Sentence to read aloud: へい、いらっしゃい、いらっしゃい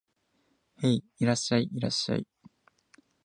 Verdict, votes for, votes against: accepted, 2, 0